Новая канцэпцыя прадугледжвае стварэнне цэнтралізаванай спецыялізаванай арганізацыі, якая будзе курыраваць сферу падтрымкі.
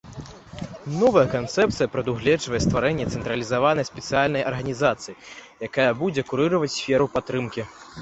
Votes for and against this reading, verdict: 0, 2, rejected